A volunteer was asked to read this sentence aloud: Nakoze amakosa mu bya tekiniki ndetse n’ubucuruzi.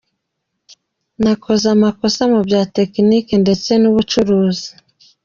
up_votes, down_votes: 1, 2